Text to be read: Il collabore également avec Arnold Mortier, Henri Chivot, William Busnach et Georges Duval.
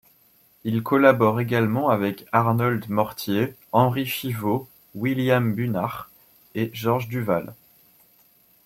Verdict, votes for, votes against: rejected, 0, 2